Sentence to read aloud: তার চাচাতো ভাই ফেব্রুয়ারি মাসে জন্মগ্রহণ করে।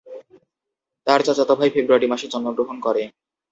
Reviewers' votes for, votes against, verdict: 2, 0, accepted